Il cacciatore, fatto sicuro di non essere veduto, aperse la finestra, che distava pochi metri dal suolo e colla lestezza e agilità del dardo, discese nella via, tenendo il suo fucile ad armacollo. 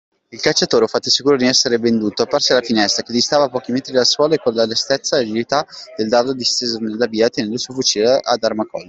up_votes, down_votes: 1, 2